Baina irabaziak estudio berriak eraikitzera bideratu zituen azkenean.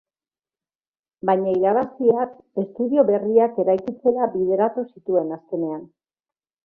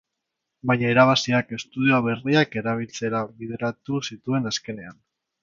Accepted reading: first